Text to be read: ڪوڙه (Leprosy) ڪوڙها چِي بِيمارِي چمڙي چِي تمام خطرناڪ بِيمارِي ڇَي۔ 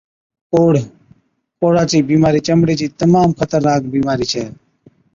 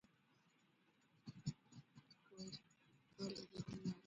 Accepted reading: first